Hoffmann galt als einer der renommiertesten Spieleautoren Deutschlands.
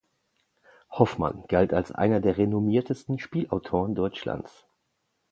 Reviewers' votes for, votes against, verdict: 0, 2, rejected